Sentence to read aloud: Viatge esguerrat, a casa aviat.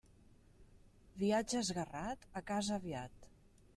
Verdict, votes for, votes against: accepted, 3, 0